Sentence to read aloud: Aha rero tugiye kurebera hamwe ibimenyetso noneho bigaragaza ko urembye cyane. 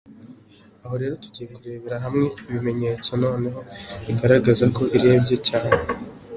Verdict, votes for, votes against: rejected, 1, 2